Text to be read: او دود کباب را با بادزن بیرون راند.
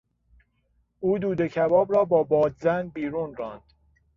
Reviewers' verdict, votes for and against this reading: accepted, 2, 0